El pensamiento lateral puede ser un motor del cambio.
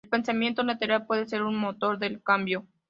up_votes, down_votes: 2, 0